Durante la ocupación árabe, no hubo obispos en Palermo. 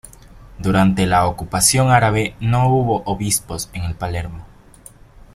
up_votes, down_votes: 0, 2